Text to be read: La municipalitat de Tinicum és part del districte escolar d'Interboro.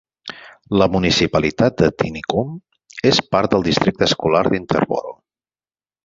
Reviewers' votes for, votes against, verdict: 6, 0, accepted